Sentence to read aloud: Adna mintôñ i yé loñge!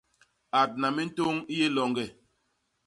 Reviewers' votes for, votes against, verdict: 2, 0, accepted